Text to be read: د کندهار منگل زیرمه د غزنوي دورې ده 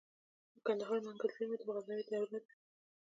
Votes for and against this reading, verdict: 0, 2, rejected